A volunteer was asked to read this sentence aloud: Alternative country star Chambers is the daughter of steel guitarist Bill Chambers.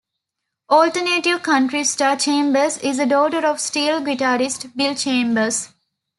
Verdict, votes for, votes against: accepted, 2, 0